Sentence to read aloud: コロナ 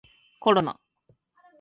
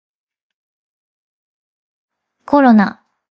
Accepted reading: first